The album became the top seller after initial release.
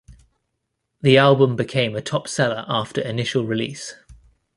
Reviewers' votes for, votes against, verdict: 2, 0, accepted